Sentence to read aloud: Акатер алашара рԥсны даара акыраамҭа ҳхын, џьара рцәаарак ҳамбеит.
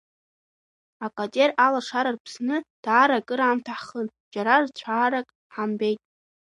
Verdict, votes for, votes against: rejected, 1, 2